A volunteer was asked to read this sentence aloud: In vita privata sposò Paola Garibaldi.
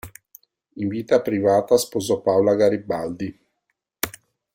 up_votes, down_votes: 2, 0